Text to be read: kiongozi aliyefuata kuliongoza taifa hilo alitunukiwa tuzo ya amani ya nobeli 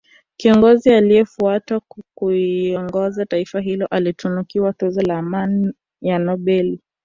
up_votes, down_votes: 2, 3